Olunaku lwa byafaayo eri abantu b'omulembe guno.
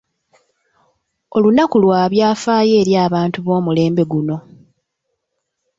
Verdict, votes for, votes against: accepted, 2, 0